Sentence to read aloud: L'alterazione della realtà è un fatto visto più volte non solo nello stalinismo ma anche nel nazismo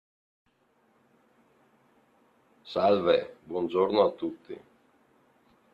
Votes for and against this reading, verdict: 0, 2, rejected